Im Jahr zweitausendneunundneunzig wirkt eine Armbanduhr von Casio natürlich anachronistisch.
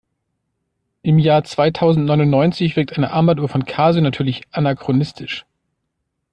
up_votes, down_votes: 2, 0